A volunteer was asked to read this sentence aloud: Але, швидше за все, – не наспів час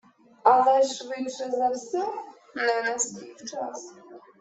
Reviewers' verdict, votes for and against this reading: rejected, 0, 2